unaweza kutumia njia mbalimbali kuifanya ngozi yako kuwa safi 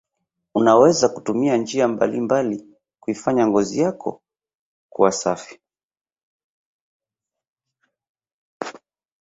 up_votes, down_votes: 1, 2